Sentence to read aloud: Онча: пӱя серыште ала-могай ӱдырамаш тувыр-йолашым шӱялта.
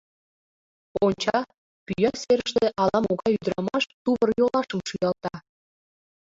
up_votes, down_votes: 0, 2